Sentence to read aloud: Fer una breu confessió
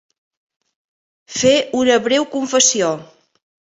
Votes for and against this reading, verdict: 7, 0, accepted